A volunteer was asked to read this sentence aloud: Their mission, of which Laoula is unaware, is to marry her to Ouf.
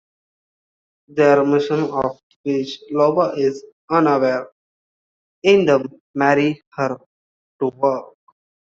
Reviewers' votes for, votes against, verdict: 0, 2, rejected